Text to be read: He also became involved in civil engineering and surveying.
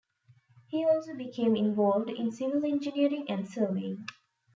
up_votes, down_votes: 0, 2